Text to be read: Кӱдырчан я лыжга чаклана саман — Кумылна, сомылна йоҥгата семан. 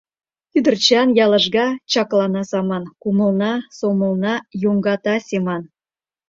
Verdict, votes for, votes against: accepted, 2, 0